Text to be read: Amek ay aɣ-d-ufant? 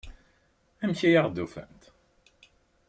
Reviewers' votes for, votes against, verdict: 3, 0, accepted